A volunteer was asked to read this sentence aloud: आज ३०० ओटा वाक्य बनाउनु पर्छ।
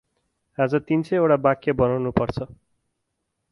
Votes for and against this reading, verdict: 0, 2, rejected